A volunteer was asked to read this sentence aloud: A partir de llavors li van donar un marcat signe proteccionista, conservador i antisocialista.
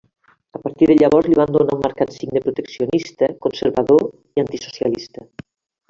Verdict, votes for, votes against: rejected, 0, 2